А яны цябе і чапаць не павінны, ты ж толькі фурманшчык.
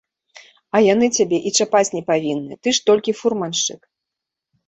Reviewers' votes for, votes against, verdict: 2, 0, accepted